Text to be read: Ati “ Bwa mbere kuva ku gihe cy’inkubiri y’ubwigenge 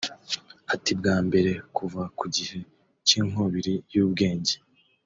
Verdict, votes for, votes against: rejected, 0, 2